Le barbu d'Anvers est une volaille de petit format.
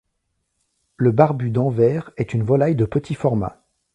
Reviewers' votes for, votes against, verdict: 2, 0, accepted